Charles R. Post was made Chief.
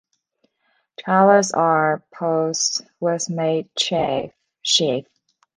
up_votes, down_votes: 1, 2